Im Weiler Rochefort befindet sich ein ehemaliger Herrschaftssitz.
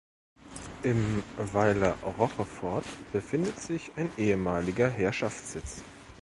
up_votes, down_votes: 1, 2